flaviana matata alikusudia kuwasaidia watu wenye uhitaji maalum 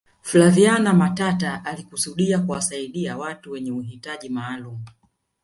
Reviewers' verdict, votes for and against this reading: rejected, 1, 2